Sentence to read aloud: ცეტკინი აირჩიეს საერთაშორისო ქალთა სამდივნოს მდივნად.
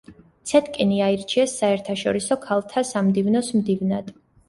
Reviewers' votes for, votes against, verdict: 3, 0, accepted